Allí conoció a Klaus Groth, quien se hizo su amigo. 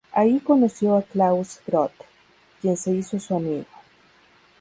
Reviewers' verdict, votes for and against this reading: rejected, 0, 2